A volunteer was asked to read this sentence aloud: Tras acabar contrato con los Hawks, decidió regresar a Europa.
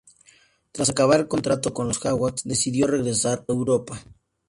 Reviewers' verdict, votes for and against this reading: accepted, 2, 0